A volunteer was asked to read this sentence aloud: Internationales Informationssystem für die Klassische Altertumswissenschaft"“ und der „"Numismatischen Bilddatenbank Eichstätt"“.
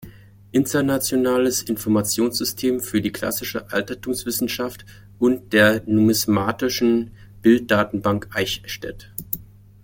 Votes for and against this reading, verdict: 2, 0, accepted